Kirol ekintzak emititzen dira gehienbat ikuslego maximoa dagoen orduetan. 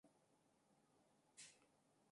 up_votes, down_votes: 0, 2